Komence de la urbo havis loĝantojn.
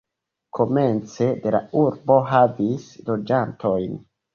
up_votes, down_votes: 2, 0